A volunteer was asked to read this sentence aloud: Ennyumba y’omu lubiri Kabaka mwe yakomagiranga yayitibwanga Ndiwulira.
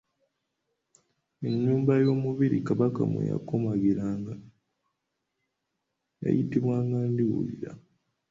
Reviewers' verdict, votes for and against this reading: rejected, 1, 2